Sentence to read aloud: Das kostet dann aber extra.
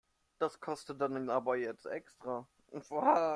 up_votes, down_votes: 0, 2